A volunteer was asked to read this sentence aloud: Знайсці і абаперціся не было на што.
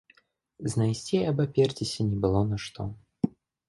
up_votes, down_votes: 2, 0